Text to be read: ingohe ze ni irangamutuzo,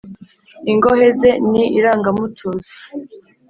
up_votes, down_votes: 4, 0